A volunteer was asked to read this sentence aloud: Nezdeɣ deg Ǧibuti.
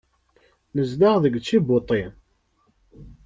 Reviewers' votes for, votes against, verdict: 2, 0, accepted